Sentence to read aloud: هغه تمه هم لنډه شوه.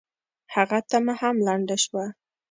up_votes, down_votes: 2, 0